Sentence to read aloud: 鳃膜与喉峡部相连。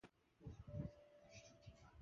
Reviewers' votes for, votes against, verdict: 0, 4, rejected